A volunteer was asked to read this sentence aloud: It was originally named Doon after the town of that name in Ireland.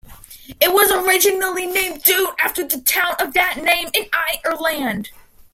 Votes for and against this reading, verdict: 2, 0, accepted